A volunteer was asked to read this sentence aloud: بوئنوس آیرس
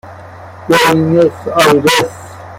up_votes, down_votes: 0, 2